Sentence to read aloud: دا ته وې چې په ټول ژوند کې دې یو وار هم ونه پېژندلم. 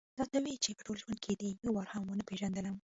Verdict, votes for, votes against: rejected, 1, 2